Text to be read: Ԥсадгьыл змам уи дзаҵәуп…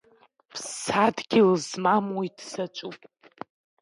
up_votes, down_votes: 2, 1